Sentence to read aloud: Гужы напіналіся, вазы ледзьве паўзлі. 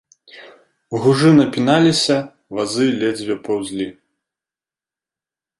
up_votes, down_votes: 3, 0